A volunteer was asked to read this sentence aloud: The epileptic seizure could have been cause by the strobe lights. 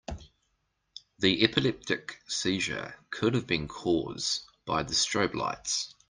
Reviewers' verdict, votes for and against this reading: accepted, 2, 0